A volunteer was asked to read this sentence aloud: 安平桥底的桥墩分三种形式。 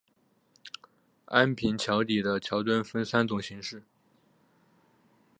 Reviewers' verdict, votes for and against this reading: accepted, 6, 0